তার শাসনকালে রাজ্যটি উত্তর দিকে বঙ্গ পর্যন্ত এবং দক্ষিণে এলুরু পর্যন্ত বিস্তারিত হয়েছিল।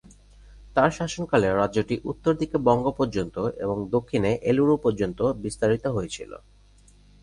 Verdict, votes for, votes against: rejected, 0, 2